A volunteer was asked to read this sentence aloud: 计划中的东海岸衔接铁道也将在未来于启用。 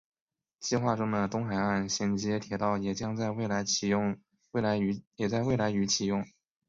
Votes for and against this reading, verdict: 1, 2, rejected